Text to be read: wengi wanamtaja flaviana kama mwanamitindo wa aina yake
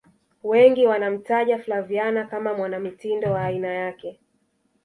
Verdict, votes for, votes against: rejected, 1, 2